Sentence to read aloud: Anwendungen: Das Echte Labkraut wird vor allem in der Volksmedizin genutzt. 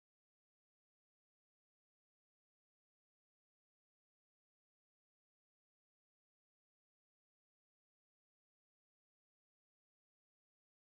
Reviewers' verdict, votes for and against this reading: rejected, 0, 2